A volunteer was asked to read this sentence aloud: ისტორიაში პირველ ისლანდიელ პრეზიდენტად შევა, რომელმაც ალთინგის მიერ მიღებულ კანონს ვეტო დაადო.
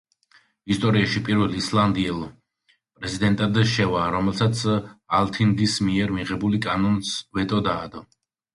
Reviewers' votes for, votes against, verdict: 0, 2, rejected